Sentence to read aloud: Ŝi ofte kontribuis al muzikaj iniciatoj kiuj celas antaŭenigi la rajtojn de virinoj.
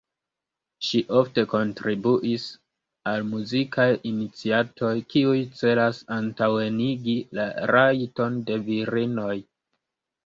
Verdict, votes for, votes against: rejected, 1, 2